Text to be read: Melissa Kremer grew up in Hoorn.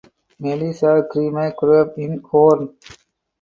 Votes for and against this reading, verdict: 2, 2, rejected